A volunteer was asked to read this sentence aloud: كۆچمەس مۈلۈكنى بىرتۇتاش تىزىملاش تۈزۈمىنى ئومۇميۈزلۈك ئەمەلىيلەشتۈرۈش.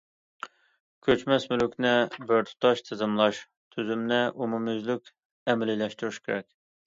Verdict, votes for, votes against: accepted, 2, 1